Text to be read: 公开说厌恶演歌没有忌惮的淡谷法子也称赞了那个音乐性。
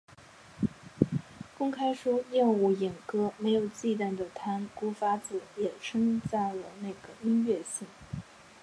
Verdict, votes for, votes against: accepted, 3, 0